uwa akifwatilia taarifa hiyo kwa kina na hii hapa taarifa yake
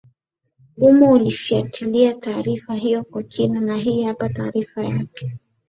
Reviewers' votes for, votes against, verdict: 6, 2, accepted